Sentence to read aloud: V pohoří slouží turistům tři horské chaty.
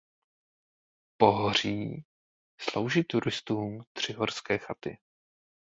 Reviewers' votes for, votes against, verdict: 1, 2, rejected